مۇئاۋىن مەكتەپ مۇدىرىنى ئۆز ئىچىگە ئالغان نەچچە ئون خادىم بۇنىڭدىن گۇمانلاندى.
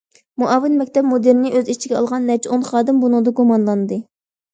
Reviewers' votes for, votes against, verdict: 2, 0, accepted